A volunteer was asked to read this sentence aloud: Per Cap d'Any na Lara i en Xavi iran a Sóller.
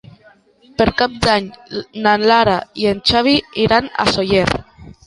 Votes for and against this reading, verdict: 0, 2, rejected